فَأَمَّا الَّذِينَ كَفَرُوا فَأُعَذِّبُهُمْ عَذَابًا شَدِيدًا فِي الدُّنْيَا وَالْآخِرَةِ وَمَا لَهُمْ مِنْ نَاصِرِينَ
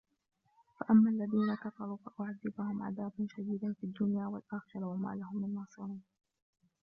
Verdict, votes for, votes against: rejected, 0, 2